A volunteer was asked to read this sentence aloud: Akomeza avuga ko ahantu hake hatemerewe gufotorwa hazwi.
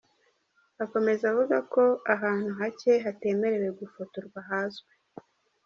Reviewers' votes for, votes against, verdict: 0, 2, rejected